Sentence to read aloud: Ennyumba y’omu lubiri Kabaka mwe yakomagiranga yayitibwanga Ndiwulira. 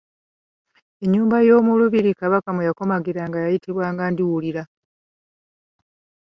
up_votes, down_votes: 2, 0